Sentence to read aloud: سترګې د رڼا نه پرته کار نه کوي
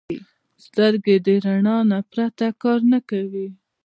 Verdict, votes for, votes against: accepted, 2, 0